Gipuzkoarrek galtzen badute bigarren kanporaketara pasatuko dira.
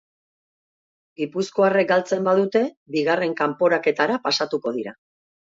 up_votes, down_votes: 3, 0